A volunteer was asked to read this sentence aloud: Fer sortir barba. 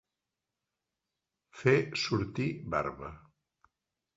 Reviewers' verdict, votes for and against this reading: accepted, 2, 0